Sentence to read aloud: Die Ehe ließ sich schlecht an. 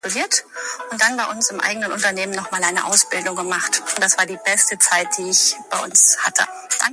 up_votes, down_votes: 0, 2